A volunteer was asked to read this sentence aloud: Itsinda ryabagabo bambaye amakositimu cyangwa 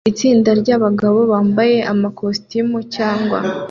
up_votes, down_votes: 2, 0